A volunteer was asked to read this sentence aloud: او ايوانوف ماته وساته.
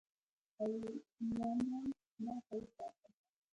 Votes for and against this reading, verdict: 1, 2, rejected